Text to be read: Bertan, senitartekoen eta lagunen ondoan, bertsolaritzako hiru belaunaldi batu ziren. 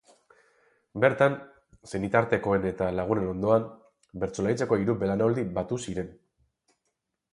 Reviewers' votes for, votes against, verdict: 0, 2, rejected